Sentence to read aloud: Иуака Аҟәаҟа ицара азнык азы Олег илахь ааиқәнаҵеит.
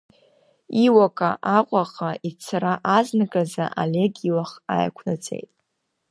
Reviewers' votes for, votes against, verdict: 0, 2, rejected